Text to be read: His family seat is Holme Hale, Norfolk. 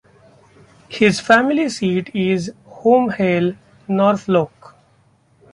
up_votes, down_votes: 0, 2